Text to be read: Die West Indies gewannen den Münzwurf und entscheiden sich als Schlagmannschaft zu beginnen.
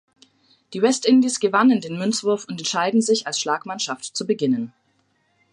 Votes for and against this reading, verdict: 2, 0, accepted